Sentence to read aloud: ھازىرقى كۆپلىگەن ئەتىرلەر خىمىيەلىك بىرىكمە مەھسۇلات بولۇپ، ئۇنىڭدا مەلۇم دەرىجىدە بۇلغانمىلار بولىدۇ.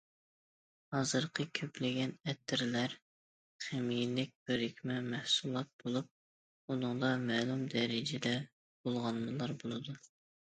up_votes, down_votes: 2, 0